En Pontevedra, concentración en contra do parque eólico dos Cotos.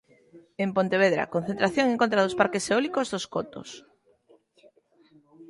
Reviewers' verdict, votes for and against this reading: rejected, 0, 2